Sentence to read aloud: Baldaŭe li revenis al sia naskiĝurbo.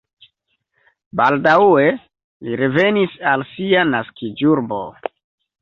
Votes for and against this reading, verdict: 0, 2, rejected